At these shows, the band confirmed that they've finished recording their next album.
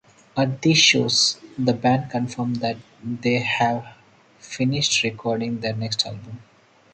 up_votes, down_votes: 0, 4